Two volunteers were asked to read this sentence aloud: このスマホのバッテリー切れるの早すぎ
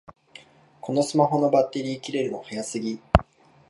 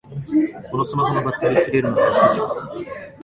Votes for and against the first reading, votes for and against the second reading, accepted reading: 2, 0, 0, 2, first